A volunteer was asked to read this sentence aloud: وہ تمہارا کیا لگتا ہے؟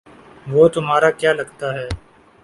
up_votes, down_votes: 10, 0